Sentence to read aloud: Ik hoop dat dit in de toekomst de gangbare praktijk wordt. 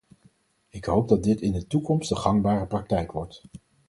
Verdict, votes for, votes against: accepted, 4, 0